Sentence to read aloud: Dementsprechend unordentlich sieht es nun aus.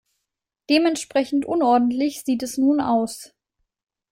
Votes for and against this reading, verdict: 2, 0, accepted